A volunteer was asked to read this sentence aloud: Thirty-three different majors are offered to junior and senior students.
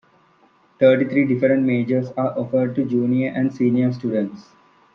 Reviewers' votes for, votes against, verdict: 2, 0, accepted